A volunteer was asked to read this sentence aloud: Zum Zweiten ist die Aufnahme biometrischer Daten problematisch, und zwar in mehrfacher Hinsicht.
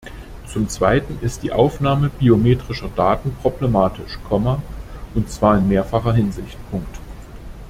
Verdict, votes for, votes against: rejected, 0, 2